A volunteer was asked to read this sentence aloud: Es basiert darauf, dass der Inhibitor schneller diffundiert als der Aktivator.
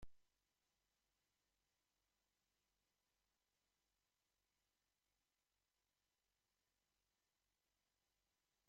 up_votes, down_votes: 0, 2